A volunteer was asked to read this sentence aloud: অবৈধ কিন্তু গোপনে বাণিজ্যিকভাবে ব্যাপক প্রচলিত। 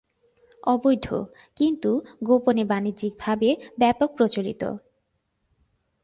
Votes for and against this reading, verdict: 6, 0, accepted